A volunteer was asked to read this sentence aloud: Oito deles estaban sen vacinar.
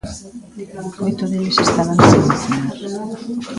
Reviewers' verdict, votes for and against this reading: rejected, 1, 2